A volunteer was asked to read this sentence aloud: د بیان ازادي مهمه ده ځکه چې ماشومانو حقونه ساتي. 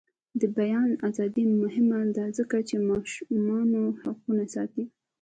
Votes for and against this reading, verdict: 0, 2, rejected